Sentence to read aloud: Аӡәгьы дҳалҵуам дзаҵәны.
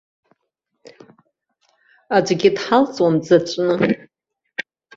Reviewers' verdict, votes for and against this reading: accepted, 2, 1